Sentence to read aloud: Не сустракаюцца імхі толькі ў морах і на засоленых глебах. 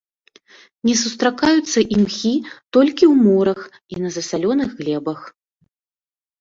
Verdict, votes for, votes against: rejected, 1, 2